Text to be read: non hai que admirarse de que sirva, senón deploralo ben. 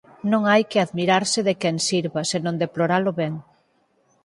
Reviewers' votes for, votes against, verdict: 2, 4, rejected